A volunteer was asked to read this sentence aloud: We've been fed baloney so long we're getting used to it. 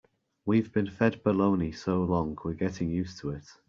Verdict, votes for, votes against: accepted, 2, 0